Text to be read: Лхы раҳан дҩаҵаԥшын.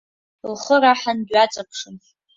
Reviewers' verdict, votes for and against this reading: accepted, 3, 0